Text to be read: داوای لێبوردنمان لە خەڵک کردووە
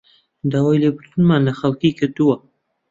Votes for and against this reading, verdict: 0, 2, rejected